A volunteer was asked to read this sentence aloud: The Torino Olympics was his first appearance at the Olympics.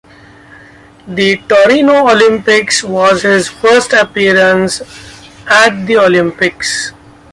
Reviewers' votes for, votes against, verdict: 2, 0, accepted